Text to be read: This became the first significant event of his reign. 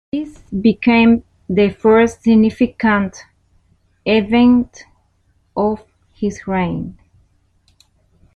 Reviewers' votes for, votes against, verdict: 2, 0, accepted